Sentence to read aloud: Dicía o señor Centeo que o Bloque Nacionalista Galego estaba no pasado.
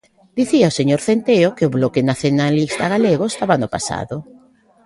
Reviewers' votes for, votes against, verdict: 0, 2, rejected